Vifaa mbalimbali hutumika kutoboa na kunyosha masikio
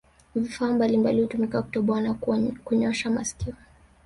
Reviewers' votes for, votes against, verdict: 2, 1, accepted